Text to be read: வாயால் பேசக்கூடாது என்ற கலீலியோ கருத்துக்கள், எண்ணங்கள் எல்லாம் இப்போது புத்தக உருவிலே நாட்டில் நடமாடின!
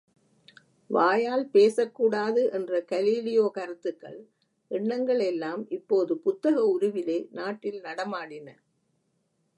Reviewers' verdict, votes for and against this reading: accepted, 2, 0